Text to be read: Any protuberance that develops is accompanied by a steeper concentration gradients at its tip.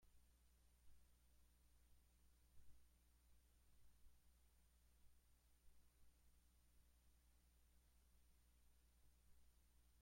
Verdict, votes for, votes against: rejected, 0, 2